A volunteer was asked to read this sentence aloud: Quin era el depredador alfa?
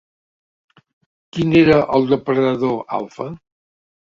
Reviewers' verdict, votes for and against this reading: rejected, 1, 2